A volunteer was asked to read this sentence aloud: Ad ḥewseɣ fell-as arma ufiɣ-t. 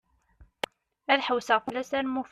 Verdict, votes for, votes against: rejected, 0, 2